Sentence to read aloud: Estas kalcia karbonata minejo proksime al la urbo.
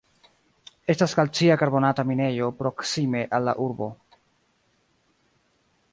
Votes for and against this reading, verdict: 2, 1, accepted